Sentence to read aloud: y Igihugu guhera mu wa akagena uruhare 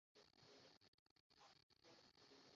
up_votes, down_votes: 0, 2